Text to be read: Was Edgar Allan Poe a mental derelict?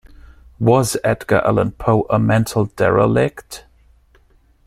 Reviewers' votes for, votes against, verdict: 2, 0, accepted